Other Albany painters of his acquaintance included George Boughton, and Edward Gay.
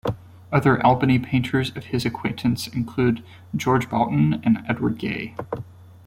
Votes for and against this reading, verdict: 2, 0, accepted